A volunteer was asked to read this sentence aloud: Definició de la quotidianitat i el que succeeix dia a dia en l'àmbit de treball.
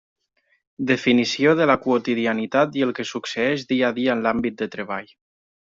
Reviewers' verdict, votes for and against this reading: accepted, 3, 0